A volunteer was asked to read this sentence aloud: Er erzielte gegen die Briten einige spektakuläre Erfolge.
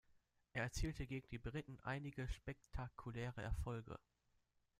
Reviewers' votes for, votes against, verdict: 1, 2, rejected